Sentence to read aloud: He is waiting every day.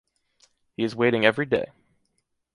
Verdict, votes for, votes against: accepted, 2, 0